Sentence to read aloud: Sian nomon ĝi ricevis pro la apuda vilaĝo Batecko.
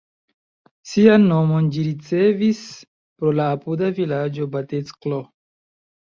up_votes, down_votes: 2, 1